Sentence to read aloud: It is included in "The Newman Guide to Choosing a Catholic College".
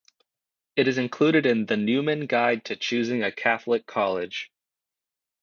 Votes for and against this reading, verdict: 2, 0, accepted